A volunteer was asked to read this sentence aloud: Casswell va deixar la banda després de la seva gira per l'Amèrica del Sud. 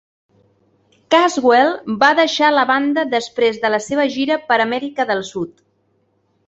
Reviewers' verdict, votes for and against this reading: rejected, 0, 2